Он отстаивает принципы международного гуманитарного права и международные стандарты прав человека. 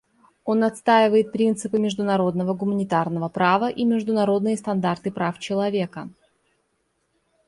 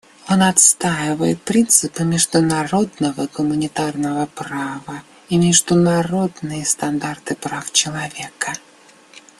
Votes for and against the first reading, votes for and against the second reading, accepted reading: 2, 0, 0, 2, first